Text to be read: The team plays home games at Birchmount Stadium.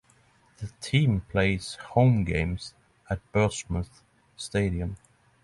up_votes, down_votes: 3, 0